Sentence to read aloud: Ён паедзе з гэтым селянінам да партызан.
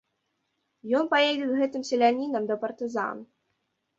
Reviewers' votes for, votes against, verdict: 2, 0, accepted